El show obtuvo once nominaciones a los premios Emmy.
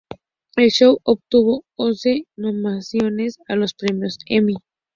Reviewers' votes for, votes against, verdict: 4, 0, accepted